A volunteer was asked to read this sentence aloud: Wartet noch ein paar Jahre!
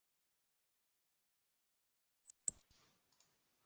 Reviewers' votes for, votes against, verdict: 0, 2, rejected